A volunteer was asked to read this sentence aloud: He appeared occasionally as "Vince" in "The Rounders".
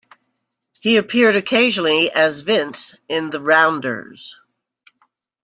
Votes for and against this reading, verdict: 2, 0, accepted